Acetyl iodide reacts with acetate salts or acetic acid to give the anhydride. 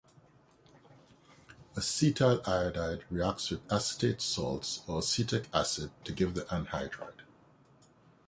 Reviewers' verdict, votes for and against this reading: accepted, 2, 0